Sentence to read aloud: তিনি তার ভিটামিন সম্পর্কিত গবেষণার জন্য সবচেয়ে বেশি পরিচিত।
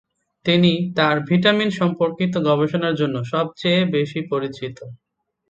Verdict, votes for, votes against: accepted, 6, 0